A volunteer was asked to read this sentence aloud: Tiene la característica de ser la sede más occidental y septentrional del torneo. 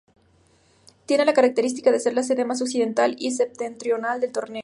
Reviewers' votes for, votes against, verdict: 0, 2, rejected